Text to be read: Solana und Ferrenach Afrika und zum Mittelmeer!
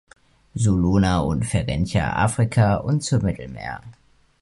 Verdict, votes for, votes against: rejected, 1, 2